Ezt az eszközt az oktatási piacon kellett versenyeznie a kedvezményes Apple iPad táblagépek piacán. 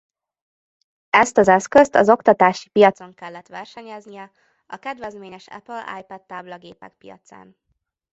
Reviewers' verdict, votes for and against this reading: rejected, 0, 2